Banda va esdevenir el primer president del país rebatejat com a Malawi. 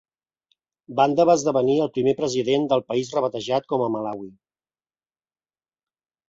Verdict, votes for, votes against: accepted, 3, 0